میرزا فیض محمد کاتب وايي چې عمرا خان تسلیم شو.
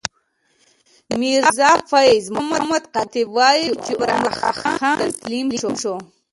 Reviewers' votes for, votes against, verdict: 0, 2, rejected